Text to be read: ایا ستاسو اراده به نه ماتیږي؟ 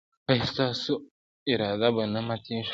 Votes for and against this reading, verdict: 1, 2, rejected